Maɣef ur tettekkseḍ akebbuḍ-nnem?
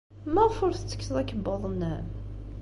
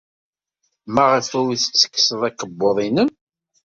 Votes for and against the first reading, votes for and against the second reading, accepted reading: 2, 0, 1, 2, first